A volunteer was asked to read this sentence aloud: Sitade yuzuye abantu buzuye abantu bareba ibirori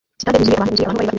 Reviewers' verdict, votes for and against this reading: rejected, 0, 2